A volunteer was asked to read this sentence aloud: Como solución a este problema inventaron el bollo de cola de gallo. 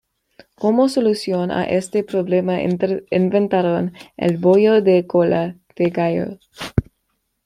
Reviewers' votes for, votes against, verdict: 1, 2, rejected